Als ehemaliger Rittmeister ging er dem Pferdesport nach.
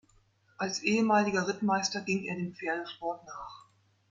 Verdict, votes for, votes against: accepted, 2, 0